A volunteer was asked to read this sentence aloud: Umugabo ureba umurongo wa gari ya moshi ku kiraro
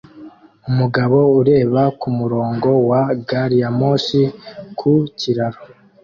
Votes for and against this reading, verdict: 2, 1, accepted